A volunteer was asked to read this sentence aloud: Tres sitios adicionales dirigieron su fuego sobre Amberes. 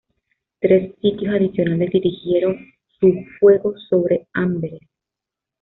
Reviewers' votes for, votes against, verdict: 1, 2, rejected